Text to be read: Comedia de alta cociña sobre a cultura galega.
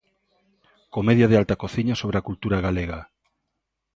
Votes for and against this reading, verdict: 2, 0, accepted